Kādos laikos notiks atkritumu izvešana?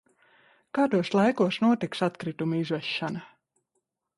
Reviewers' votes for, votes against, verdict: 2, 0, accepted